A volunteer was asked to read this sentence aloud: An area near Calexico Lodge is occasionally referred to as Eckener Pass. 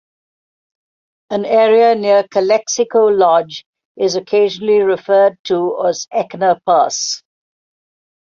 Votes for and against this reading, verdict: 2, 0, accepted